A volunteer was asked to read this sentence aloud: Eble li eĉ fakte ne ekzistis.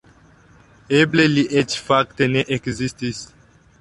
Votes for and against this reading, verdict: 2, 0, accepted